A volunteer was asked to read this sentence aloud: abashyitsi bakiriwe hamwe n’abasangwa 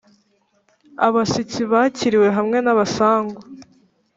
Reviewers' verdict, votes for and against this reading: accepted, 2, 0